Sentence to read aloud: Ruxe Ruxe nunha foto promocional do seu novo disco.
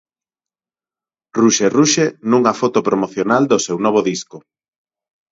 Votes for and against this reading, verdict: 0, 4, rejected